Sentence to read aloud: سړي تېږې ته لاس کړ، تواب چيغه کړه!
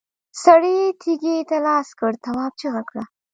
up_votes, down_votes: 0, 2